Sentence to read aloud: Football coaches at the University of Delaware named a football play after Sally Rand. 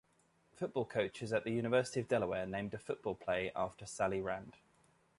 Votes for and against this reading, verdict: 2, 0, accepted